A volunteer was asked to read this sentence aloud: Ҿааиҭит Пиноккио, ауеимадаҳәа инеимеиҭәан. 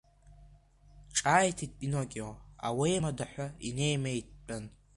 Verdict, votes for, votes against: rejected, 0, 2